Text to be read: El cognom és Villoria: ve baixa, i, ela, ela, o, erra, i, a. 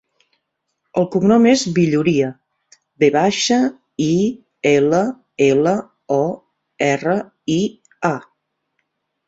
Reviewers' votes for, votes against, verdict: 0, 2, rejected